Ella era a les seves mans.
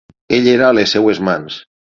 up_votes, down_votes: 3, 6